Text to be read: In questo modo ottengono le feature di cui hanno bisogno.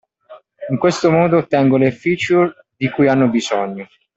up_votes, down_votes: 2, 0